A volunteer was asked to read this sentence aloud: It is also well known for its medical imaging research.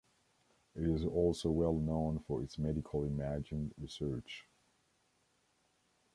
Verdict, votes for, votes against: rejected, 1, 2